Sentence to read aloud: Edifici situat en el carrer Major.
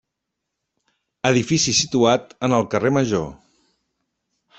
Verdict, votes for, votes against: accepted, 3, 0